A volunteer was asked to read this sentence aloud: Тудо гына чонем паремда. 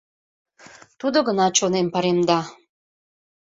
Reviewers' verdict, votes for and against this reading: accepted, 2, 0